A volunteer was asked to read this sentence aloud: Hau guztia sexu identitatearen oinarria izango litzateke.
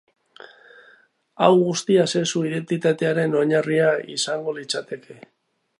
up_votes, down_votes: 4, 0